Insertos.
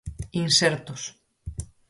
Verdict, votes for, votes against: accepted, 4, 0